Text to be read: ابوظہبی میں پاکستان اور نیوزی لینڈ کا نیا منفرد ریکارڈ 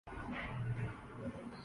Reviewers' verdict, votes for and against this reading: rejected, 7, 11